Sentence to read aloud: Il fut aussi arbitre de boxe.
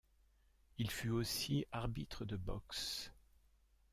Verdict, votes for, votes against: rejected, 0, 2